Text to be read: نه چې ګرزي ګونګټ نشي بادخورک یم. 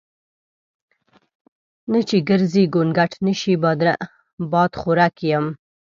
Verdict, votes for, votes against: rejected, 0, 2